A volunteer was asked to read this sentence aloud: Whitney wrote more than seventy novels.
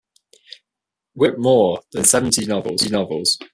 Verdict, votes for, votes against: rejected, 1, 2